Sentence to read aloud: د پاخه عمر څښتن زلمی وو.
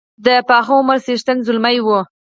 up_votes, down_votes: 4, 0